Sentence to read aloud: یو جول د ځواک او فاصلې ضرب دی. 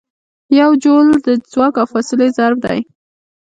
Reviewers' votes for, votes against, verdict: 2, 1, accepted